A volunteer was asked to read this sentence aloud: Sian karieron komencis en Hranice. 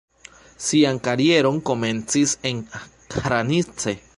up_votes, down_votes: 2, 0